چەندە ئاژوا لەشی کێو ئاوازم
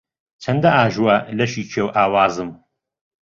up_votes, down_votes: 2, 0